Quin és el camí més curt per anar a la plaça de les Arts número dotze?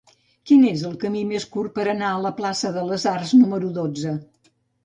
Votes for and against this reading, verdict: 3, 0, accepted